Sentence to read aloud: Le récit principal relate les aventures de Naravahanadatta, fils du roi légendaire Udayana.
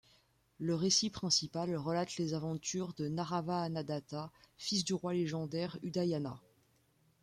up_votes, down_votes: 2, 0